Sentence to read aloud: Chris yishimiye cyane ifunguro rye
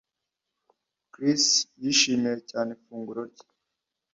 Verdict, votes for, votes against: accepted, 2, 0